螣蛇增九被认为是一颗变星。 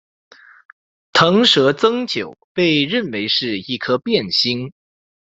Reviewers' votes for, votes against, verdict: 2, 0, accepted